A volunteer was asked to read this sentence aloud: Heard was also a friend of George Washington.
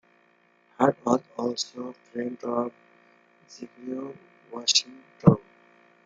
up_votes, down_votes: 1, 2